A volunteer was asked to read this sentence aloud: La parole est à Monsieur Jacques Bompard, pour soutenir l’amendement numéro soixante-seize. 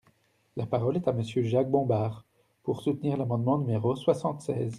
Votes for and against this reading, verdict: 0, 2, rejected